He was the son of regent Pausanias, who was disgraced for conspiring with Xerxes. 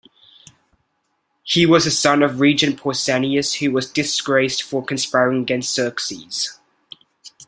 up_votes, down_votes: 1, 2